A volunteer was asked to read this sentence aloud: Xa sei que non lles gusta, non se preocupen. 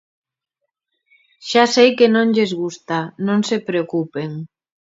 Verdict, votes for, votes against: accepted, 2, 0